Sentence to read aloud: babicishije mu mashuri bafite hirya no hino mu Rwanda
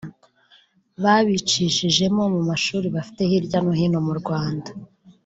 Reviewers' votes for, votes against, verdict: 1, 2, rejected